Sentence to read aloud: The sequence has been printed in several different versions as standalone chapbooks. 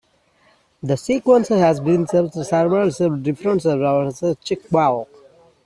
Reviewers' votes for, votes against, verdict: 0, 2, rejected